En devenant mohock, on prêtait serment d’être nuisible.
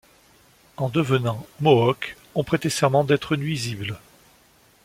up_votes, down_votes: 2, 0